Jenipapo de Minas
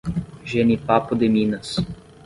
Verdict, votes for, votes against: accepted, 10, 0